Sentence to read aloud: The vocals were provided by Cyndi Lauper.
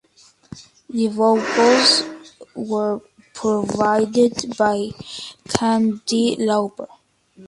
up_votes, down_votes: 1, 2